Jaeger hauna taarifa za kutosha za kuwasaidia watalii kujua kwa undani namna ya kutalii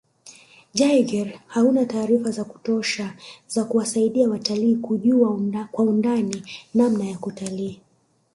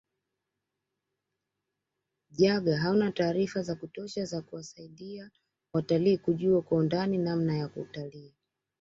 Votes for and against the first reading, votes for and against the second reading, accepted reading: 2, 0, 0, 2, first